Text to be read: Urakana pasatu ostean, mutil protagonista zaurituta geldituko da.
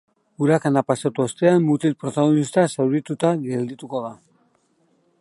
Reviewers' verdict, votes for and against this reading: accepted, 4, 0